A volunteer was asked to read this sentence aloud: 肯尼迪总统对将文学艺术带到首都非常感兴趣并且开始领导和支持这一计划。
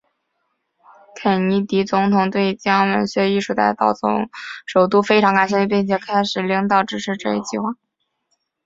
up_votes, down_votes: 0, 3